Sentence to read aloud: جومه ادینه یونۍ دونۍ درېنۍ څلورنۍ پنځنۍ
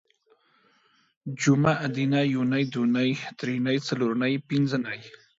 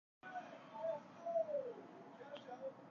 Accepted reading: first